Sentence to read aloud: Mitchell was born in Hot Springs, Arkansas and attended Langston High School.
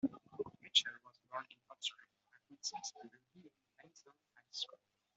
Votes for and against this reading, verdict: 0, 2, rejected